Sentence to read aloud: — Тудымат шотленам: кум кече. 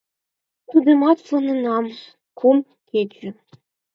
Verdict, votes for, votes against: rejected, 2, 4